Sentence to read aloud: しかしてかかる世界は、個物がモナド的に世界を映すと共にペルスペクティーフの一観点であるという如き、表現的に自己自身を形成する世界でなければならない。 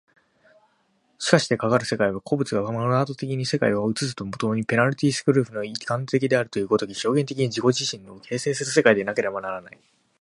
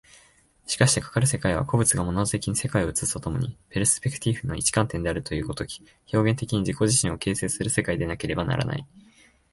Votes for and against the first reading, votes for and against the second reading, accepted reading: 1, 3, 2, 0, second